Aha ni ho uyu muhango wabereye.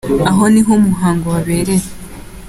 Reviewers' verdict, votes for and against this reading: accepted, 2, 1